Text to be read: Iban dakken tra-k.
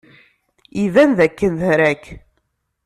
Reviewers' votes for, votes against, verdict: 1, 2, rejected